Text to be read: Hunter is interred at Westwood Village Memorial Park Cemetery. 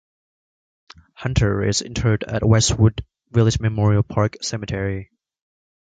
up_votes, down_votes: 2, 0